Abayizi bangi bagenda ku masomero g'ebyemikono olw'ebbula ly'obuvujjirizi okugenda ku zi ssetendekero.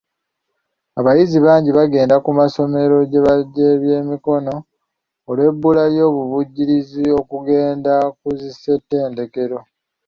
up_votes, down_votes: 0, 2